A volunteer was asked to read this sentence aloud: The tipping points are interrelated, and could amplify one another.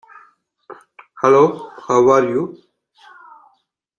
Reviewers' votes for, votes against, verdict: 0, 2, rejected